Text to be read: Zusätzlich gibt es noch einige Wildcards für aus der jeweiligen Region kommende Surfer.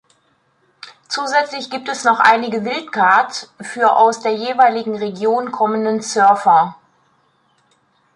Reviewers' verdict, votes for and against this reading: rejected, 1, 2